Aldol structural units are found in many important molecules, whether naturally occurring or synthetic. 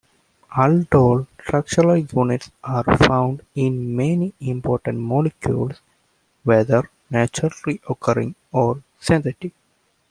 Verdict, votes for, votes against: accepted, 2, 0